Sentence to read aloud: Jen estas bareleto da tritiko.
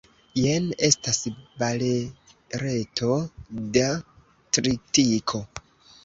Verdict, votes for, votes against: rejected, 1, 2